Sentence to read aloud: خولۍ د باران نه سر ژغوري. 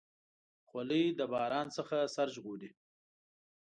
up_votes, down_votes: 1, 2